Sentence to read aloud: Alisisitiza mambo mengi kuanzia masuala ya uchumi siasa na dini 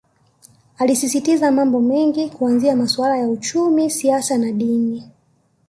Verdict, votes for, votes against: accepted, 2, 0